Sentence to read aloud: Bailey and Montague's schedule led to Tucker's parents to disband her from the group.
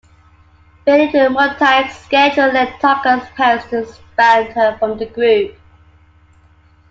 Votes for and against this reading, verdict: 1, 2, rejected